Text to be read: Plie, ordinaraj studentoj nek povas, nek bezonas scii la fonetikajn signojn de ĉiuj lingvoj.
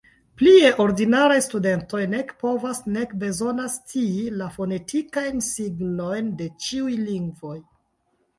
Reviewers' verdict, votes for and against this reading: accepted, 2, 0